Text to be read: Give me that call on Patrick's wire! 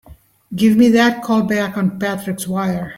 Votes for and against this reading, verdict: 0, 2, rejected